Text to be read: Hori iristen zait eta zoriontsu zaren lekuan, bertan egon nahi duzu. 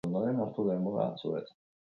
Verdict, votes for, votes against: accepted, 2, 0